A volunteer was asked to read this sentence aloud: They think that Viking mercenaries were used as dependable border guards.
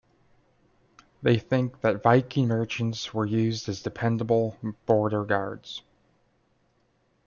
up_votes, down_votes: 1, 2